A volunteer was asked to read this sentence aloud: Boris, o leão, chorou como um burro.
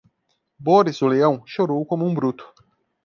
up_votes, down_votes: 0, 2